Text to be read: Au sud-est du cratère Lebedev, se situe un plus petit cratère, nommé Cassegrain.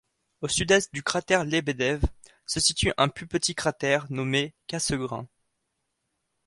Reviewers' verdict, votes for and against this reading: accepted, 2, 0